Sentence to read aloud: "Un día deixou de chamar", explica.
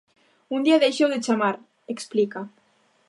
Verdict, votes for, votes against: accepted, 2, 0